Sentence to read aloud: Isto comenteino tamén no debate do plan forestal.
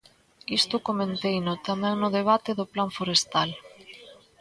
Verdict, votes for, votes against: accepted, 2, 1